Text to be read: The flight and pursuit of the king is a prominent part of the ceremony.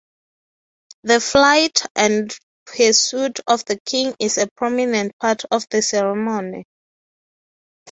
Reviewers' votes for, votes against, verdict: 3, 0, accepted